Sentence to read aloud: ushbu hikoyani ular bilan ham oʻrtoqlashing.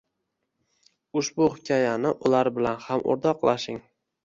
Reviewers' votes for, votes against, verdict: 1, 2, rejected